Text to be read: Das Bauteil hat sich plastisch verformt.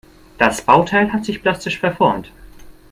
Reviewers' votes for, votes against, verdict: 2, 0, accepted